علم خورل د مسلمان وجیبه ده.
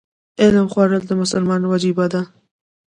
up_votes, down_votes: 2, 0